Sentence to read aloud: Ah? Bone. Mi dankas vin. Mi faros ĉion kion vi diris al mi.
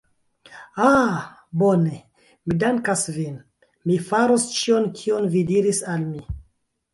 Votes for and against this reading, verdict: 2, 1, accepted